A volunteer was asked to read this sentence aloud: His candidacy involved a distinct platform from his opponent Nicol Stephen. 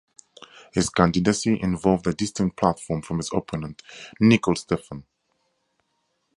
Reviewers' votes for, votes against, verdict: 2, 0, accepted